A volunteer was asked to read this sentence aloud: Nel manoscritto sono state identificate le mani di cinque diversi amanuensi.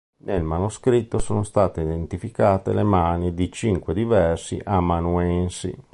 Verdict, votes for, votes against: accepted, 2, 0